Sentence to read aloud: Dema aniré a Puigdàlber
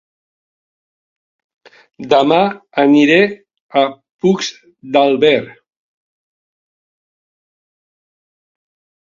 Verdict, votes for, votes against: rejected, 0, 2